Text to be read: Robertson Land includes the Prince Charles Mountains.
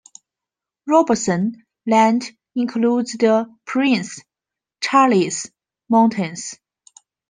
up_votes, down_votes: 2, 1